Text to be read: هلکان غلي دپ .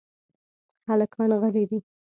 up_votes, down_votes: 1, 2